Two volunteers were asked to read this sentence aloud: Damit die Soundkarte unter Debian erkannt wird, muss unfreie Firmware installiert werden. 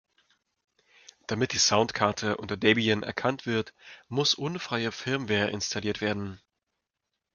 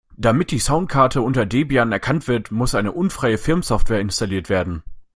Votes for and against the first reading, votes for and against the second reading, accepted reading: 2, 0, 0, 2, first